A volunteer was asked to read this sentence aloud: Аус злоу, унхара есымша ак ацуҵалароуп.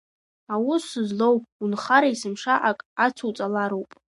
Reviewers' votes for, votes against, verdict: 2, 0, accepted